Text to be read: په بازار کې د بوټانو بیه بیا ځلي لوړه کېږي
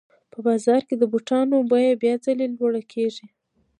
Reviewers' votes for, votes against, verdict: 0, 2, rejected